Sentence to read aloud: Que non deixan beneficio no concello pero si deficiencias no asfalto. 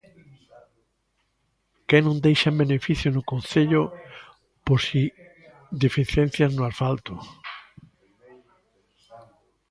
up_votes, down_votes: 0, 2